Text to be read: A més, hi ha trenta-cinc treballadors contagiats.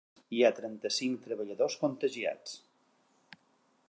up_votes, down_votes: 0, 2